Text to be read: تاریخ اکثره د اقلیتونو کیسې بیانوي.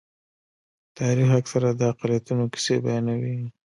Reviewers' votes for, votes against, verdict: 2, 0, accepted